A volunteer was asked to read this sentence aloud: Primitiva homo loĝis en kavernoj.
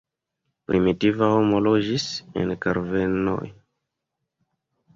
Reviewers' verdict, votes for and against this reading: rejected, 0, 2